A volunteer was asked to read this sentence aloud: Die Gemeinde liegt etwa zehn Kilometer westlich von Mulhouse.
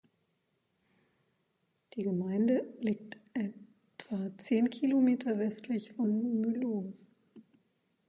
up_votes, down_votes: 0, 2